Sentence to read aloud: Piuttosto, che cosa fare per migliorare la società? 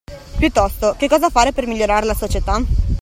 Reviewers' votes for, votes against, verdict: 2, 0, accepted